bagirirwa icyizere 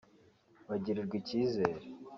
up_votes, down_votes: 3, 0